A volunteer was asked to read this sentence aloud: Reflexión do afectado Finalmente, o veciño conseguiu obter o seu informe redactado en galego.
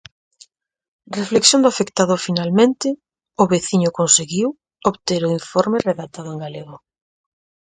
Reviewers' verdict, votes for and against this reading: rejected, 0, 4